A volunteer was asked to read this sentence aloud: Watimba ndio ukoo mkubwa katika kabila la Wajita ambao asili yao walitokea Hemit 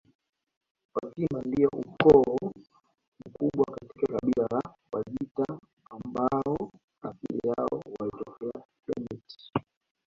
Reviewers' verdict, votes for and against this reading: rejected, 0, 2